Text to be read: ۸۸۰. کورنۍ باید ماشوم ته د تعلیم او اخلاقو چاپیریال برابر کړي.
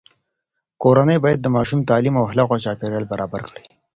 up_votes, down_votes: 0, 2